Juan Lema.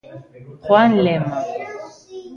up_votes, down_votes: 0, 2